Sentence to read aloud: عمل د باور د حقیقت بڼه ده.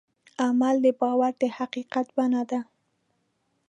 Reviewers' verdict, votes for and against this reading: accepted, 2, 0